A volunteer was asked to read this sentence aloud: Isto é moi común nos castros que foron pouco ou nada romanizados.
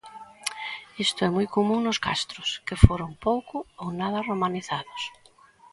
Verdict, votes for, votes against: accepted, 2, 0